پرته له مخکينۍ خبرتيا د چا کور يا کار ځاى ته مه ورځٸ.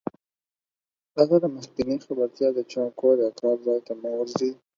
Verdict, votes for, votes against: accepted, 4, 0